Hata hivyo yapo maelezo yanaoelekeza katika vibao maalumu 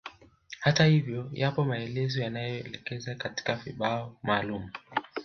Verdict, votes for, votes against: accepted, 2, 1